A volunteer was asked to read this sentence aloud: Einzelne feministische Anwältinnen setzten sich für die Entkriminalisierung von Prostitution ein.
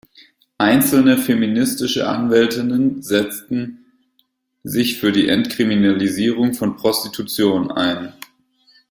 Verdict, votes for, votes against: accepted, 2, 0